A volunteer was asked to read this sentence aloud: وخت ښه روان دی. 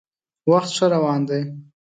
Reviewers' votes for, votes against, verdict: 2, 0, accepted